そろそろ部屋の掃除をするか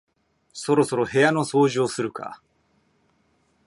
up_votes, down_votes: 1, 2